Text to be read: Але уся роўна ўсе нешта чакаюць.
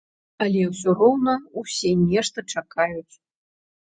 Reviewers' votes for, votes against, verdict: 1, 2, rejected